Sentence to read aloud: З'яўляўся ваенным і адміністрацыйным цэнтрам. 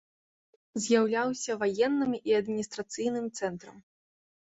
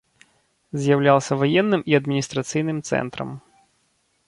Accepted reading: second